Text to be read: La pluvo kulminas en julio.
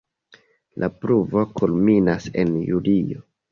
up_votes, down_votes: 2, 1